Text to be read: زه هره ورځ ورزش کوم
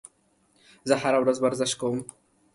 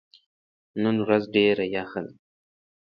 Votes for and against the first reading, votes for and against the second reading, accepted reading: 2, 0, 0, 2, first